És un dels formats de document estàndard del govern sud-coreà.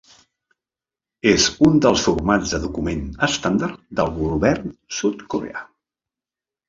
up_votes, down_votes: 3, 1